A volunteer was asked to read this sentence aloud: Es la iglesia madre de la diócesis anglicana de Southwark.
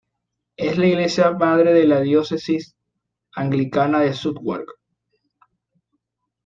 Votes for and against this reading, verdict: 2, 0, accepted